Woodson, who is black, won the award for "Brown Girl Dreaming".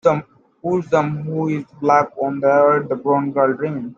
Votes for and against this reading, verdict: 0, 2, rejected